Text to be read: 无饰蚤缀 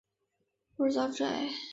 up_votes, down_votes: 0, 3